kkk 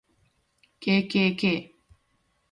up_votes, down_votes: 9, 0